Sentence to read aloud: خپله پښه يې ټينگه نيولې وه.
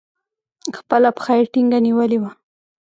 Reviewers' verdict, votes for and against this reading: rejected, 1, 2